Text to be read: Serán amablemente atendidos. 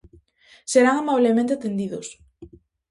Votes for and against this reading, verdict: 4, 0, accepted